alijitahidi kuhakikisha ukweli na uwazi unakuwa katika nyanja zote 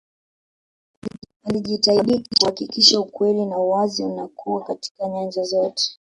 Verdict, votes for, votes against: accepted, 2, 1